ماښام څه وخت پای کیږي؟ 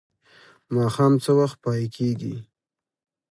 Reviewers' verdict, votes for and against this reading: accepted, 2, 0